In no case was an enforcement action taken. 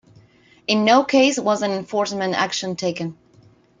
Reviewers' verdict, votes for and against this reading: accepted, 2, 0